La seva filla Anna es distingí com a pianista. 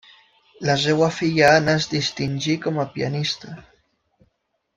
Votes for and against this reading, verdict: 1, 2, rejected